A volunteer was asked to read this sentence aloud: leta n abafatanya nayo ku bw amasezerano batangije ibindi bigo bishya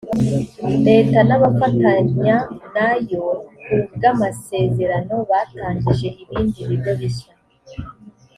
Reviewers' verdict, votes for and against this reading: accepted, 2, 0